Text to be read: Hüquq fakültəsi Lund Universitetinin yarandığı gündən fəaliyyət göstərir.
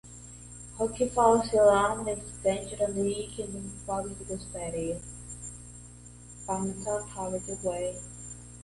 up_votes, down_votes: 0, 2